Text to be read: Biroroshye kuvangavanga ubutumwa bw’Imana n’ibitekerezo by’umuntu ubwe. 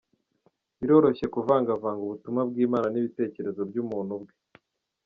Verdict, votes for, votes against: accepted, 2, 1